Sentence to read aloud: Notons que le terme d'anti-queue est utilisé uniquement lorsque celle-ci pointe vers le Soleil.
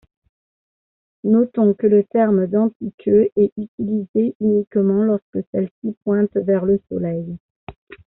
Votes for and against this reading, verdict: 2, 0, accepted